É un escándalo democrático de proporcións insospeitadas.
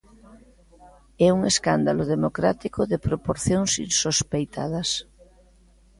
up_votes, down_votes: 2, 0